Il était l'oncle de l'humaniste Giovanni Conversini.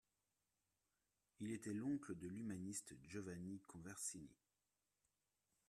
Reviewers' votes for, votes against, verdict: 2, 0, accepted